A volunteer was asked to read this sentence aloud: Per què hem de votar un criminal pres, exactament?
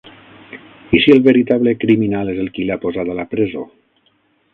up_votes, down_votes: 3, 6